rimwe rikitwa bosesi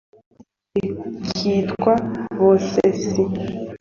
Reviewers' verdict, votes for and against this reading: accepted, 2, 1